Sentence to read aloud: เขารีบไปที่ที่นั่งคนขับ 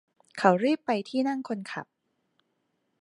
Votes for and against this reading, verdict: 1, 2, rejected